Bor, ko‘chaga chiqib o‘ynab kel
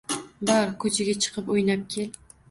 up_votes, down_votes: 0, 2